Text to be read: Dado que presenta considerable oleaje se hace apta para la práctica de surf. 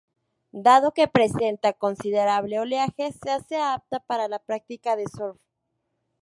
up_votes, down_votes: 2, 0